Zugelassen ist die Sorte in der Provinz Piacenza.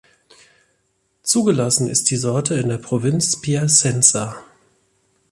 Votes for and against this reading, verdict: 2, 0, accepted